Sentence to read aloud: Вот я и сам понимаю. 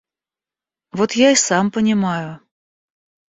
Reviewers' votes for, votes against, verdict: 2, 0, accepted